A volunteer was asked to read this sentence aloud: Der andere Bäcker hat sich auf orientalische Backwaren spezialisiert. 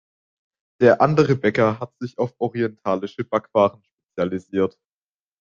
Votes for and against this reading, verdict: 0, 2, rejected